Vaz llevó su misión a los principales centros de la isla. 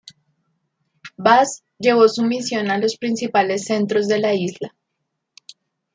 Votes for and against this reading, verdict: 1, 2, rejected